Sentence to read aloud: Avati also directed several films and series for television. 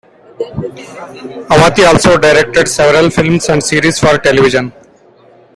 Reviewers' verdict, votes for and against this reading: accepted, 2, 0